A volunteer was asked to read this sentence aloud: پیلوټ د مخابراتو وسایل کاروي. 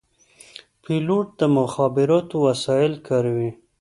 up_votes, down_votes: 2, 0